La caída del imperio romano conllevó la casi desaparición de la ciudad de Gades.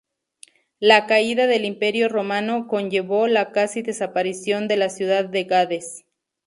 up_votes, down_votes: 2, 0